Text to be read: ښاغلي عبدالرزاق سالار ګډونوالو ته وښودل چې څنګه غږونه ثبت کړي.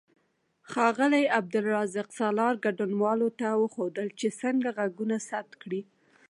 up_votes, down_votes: 0, 2